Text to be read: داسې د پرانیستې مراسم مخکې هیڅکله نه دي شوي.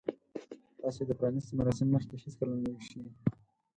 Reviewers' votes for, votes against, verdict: 2, 4, rejected